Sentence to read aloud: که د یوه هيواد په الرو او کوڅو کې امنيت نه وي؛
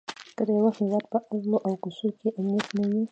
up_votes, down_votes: 1, 2